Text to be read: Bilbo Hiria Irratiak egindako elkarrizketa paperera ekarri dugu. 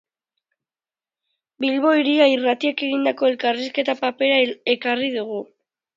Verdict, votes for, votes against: accepted, 2, 0